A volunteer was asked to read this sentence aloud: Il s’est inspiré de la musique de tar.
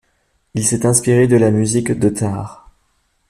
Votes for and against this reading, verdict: 2, 0, accepted